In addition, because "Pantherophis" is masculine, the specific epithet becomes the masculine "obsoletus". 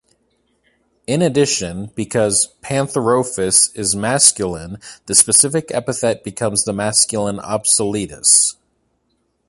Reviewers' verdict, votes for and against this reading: accepted, 2, 1